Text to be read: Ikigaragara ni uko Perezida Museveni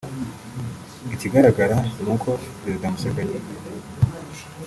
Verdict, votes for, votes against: accepted, 3, 0